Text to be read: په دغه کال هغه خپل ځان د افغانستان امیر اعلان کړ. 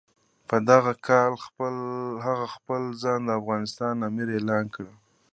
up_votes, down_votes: 2, 0